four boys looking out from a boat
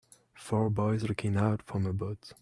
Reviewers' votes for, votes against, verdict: 2, 0, accepted